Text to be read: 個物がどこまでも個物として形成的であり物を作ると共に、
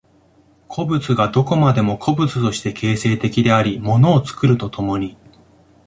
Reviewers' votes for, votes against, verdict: 2, 0, accepted